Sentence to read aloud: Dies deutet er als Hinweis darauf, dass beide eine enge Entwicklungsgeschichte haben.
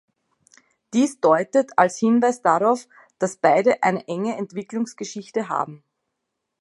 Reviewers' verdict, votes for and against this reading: rejected, 0, 2